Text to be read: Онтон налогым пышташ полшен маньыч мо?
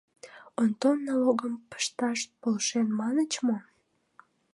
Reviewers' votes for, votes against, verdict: 2, 0, accepted